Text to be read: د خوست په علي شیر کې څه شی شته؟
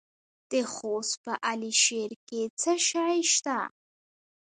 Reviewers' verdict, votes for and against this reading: rejected, 0, 2